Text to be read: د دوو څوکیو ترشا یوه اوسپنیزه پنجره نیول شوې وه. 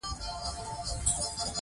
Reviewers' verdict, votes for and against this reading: rejected, 2, 3